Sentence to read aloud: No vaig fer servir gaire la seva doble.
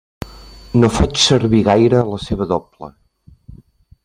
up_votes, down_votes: 1, 2